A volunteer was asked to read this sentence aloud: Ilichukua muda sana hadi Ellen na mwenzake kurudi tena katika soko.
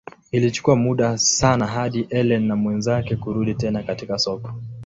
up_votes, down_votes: 2, 0